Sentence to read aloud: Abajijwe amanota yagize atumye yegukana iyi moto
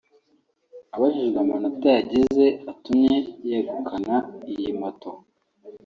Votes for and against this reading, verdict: 2, 0, accepted